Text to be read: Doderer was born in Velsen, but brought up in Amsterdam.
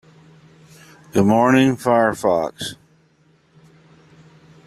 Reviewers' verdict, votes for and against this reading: rejected, 0, 2